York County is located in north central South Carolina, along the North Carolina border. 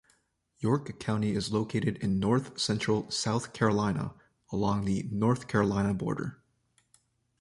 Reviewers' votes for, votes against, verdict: 2, 0, accepted